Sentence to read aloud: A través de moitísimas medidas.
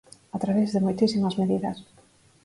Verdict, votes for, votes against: accepted, 4, 0